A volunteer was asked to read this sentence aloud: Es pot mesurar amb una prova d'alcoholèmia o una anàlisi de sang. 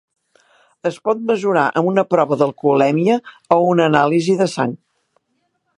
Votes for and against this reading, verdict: 3, 0, accepted